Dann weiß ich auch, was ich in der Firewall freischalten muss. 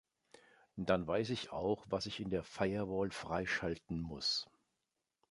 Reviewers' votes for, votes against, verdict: 2, 0, accepted